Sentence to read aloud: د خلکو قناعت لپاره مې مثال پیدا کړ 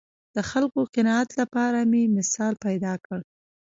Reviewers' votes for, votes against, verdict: 2, 0, accepted